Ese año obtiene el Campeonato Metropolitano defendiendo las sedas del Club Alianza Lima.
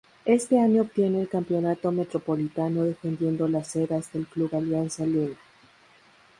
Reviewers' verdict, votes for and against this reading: rejected, 0, 2